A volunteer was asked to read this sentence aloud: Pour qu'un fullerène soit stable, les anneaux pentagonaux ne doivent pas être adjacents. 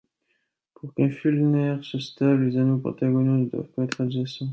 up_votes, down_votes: 0, 2